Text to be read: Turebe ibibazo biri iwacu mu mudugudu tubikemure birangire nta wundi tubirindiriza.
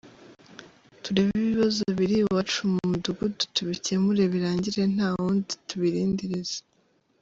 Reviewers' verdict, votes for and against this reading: accepted, 2, 0